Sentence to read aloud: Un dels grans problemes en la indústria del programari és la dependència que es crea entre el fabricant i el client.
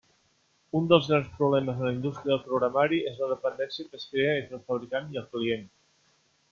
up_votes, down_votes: 3, 0